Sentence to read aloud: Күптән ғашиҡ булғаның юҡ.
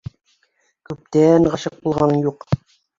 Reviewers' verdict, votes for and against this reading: accepted, 2, 0